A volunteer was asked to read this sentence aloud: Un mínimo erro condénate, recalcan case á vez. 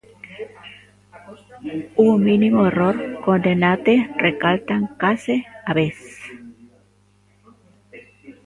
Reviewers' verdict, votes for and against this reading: rejected, 0, 2